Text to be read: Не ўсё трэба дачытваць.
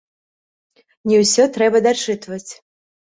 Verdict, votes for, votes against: accepted, 3, 0